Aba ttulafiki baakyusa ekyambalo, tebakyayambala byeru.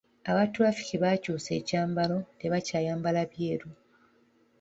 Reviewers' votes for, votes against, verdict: 2, 0, accepted